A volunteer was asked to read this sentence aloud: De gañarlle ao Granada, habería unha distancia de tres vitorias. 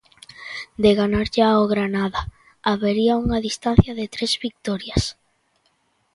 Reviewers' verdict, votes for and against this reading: rejected, 1, 2